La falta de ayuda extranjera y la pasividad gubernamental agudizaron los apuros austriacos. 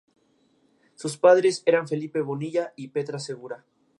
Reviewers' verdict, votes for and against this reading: rejected, 0, 2